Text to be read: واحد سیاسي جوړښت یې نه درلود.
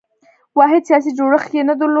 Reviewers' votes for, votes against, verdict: 1, 2, rejected